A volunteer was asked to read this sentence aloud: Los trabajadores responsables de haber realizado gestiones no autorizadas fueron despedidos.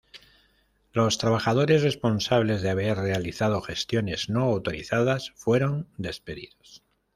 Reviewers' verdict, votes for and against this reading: accepted, 2, 0